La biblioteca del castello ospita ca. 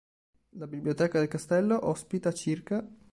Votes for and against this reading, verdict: 2, 1, accepted